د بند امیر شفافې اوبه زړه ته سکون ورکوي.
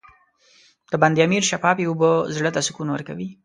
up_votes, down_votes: 2, 0